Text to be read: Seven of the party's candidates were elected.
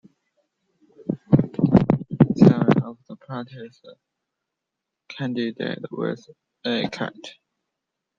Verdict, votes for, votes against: rejected, 0, 2